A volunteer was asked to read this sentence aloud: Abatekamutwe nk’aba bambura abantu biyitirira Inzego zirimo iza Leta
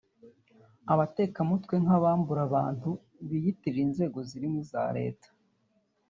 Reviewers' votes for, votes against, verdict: 1, 2, rejected